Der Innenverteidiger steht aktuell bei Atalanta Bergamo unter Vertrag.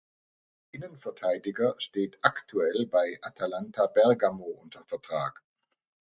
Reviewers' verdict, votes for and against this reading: rejected, 0, 2